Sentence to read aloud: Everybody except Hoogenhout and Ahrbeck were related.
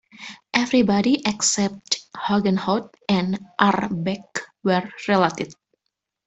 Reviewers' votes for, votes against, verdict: 2, 0, accepted